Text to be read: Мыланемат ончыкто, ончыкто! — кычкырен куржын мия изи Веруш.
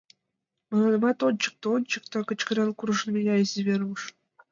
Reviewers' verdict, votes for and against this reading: accepted, 2, 1